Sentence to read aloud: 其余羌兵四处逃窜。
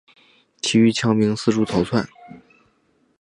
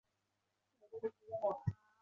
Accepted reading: first